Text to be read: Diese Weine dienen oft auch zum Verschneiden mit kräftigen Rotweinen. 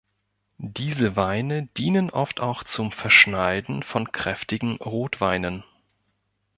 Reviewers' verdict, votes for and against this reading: rejected, 1, 2